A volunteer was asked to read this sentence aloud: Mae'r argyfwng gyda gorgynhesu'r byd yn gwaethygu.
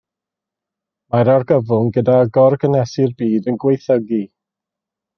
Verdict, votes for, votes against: accepted, 2, 0